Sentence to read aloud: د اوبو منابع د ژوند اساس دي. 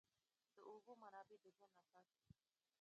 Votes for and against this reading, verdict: 1, 2, rejected